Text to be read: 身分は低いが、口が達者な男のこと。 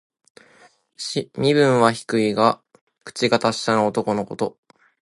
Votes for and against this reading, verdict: 2, 0, accepted